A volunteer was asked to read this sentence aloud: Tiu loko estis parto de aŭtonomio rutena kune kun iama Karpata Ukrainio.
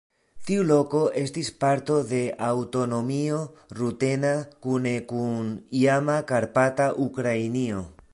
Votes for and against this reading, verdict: 2, 0, accepted